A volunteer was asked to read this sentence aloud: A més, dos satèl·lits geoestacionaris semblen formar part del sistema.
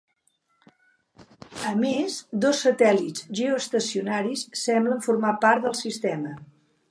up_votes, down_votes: 2, 3